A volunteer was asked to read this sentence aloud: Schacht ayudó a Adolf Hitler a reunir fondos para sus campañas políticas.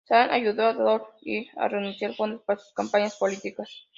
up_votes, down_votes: 0, 2